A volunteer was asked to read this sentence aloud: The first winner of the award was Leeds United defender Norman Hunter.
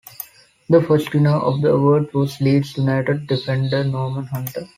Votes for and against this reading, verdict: 2, 0, accepted